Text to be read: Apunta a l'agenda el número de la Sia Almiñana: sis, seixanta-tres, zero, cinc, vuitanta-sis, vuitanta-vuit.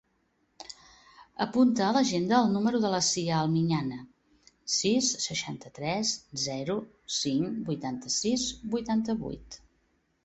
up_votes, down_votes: 2, 0